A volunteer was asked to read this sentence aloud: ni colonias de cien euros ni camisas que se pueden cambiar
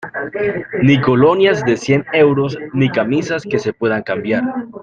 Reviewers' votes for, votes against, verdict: 2, 0, accepted